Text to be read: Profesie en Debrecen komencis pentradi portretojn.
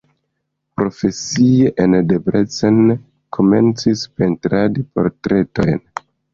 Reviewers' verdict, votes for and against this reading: accepted, 2, 1